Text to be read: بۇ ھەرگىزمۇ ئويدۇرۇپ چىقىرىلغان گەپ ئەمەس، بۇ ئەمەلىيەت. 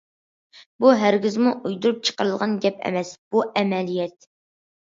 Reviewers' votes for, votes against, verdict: 2, 0, accepted